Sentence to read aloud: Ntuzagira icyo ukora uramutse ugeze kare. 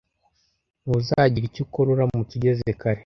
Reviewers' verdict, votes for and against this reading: accepted, 2, 0